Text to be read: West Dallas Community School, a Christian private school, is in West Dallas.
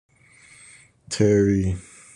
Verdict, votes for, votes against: rejected, 0, 2